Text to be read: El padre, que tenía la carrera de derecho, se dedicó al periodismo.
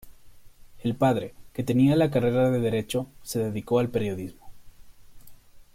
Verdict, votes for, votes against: accepted, 2, 0